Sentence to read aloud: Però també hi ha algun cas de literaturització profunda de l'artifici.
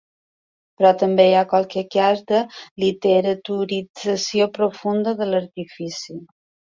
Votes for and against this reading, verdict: 1, 2, rejected